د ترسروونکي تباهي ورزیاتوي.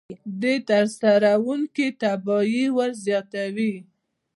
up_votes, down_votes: 0, 2